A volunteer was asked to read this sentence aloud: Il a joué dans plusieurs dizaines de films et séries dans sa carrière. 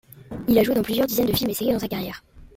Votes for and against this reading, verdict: 2, 1, accepted